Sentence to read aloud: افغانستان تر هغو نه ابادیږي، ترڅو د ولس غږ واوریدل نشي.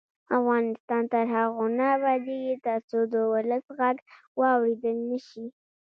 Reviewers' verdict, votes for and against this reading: rejected, 1, 2